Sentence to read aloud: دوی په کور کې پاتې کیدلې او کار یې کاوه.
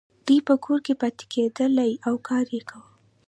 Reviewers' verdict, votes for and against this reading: accepted, 2, 0